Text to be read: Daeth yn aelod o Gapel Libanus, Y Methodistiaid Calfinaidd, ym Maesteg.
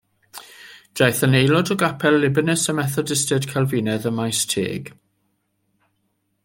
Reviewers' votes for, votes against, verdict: 2, 0, accepted